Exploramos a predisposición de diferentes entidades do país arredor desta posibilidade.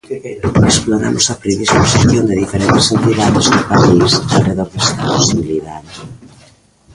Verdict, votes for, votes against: rejected, 1, 2